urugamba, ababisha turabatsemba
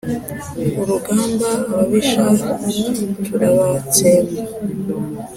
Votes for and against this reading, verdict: 5, 0, accepted